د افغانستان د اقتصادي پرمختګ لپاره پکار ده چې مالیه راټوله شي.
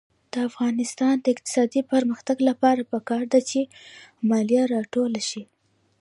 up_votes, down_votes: 2, 0